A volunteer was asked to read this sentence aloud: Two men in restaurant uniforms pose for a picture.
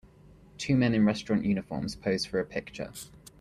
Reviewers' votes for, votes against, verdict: 2, 0, accepted